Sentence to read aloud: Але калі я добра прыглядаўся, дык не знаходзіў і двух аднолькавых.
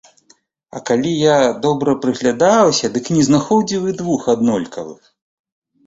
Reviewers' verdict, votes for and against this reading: rejected, 1, 2